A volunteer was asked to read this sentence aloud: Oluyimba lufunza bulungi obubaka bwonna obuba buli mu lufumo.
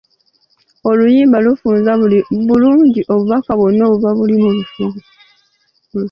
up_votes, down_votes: 0, 2